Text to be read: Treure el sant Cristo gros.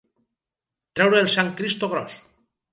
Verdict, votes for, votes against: accepted, 4, 0